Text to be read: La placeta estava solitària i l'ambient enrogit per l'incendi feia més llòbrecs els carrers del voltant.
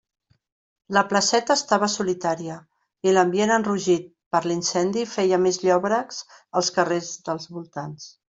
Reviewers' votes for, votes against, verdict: 0, 2, rejected